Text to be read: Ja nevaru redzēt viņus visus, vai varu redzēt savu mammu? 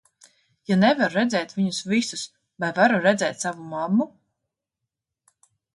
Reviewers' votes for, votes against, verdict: 2, 0, accepted